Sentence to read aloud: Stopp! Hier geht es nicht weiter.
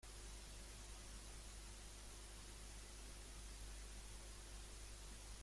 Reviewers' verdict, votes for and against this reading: rejected, 0, 2